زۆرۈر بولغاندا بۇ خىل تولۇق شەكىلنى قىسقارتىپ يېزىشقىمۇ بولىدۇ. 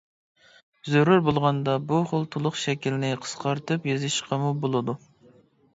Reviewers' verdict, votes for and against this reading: accepted, 2, 0